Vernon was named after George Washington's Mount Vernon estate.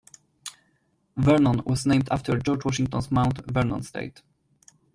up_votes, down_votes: 2, 0